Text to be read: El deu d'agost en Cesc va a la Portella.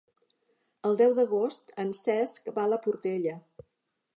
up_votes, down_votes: 3, 0